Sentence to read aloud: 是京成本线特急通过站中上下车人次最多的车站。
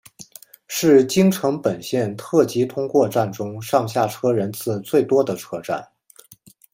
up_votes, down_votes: 2, 0